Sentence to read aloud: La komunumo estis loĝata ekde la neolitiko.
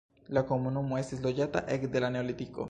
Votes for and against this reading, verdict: 2, 0, accepted